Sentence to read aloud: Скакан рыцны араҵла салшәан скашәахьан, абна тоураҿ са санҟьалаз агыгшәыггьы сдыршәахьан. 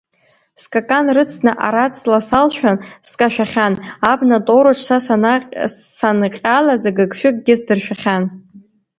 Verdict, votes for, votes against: rejected, 0, 2